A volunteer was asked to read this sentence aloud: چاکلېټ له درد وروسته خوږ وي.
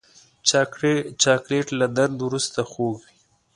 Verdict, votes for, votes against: accepted, 2, 0